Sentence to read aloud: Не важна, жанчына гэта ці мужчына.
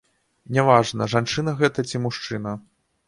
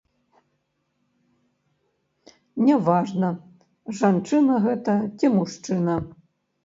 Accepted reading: first